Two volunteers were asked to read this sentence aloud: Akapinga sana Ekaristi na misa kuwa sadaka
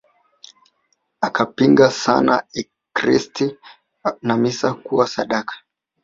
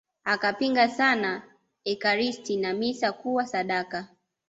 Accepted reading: second